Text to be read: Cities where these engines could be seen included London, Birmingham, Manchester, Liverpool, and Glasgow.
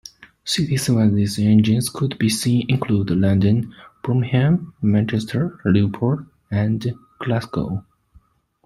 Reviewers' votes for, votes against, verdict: 2, 1, accepted